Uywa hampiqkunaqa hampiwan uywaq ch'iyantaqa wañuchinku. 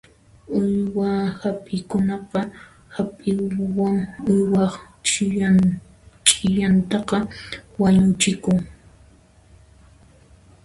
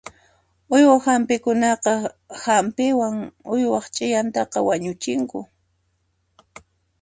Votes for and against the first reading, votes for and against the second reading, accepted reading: 1, 2, 2, 0, second